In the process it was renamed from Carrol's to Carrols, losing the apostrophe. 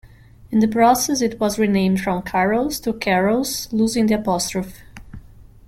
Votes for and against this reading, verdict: 1, 2, rejected